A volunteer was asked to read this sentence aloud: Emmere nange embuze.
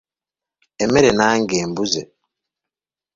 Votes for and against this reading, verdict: 2, 0, accepted